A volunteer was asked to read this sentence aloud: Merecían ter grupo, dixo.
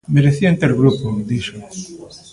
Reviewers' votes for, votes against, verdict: 2, 0, accepted